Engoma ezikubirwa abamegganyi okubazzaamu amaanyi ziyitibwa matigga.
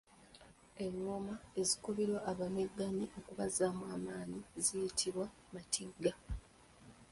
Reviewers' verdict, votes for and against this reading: accepted, 2, 0